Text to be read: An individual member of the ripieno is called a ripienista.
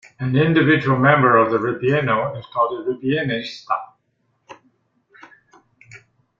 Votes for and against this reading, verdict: 1, 2, rejected